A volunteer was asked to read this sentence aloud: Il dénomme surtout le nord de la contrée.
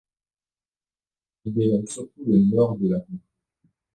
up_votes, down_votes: 0, 2